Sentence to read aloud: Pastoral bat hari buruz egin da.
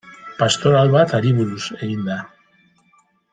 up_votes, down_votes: 0, 2